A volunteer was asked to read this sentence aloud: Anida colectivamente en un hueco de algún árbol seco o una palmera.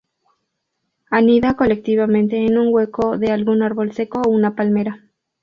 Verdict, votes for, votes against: accepted, 4, 0